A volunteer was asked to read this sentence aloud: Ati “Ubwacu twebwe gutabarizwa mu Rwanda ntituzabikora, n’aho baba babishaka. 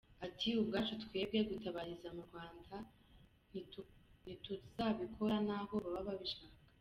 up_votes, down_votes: 0, 2